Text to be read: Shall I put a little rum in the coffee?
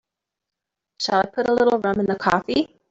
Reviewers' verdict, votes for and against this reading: accepted, 2, 0